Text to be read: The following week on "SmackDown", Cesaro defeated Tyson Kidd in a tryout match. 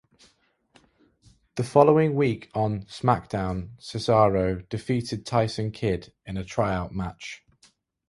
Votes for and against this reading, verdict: 2, 0, accepted